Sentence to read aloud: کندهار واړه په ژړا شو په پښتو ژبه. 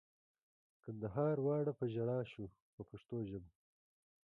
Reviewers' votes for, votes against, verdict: 1, 2, rejected